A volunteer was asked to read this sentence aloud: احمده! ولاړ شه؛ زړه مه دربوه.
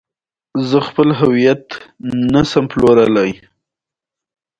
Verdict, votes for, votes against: accepted, 2, 1